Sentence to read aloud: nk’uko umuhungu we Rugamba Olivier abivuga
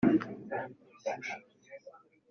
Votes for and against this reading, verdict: 0, 3, rejected